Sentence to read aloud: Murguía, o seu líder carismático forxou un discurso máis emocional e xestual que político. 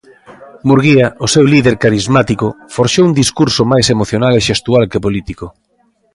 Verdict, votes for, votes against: accepted, 2, 0